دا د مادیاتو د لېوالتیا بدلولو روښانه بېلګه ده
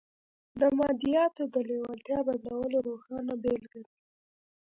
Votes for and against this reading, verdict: 2, 1, accepted